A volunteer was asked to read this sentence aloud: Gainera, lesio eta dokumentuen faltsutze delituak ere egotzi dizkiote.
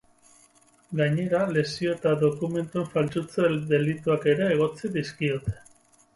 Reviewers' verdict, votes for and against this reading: rejected, 2, 2